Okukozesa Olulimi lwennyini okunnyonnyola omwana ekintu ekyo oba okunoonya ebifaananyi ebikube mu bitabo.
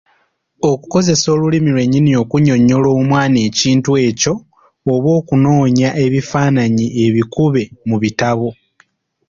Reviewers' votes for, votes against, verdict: 3, 0, accepted